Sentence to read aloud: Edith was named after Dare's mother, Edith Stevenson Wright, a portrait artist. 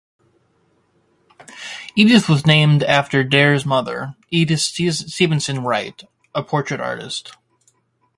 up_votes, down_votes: 0, 2